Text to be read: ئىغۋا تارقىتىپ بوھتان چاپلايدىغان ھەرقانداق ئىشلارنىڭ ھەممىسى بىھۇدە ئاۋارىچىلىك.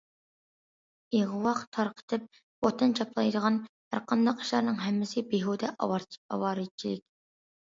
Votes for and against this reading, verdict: 0, 2, rejected